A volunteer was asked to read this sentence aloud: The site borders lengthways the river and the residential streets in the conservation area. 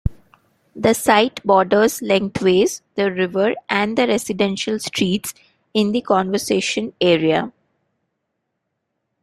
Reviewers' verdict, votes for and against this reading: rejected, 0, 2